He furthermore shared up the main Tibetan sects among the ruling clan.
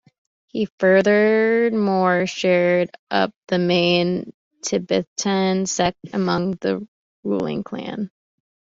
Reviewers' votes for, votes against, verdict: 0, 2, rejected